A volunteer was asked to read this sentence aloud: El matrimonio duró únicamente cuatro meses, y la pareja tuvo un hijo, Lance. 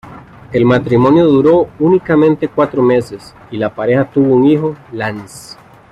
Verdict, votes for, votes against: accepted, 2, 0